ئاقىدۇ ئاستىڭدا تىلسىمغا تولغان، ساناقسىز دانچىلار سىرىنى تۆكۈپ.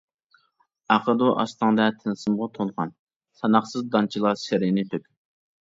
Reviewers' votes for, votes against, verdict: 0, 2, rejected